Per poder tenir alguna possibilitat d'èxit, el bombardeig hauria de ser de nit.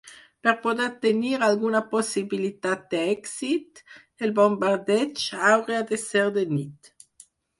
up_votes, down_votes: 2, 4